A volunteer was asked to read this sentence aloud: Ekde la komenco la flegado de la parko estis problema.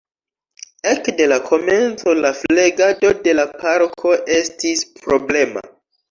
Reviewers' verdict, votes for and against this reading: accepted, 2, 0